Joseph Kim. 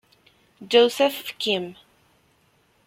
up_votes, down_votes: 2, 1